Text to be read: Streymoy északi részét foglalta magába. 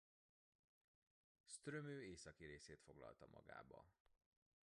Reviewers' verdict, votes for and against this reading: rejected, 1, 2